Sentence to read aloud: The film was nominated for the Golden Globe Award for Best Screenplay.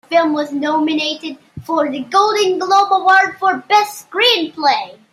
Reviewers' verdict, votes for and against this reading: rejected, 0, 2